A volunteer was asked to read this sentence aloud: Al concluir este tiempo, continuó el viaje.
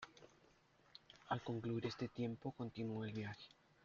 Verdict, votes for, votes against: accepted, 2, 0